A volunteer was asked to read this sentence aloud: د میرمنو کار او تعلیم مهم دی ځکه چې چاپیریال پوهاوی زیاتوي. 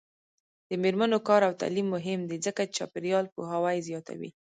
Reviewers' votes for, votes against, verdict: 0, 2, rejected